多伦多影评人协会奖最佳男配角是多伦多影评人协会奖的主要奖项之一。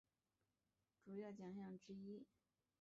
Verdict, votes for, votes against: rejected, 0, 2